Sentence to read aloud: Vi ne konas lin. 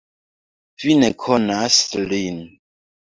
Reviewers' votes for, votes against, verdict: 2, 0, accepted